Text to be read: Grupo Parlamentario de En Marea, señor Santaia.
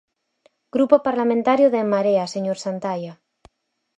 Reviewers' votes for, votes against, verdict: 4, 0, accepted